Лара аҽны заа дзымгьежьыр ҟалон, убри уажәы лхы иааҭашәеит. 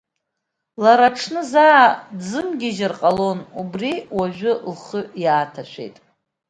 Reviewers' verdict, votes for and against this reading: accepted, 3, 0